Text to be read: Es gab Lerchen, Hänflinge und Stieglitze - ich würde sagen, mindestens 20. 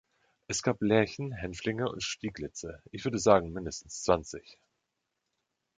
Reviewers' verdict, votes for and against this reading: rejected, 0, 2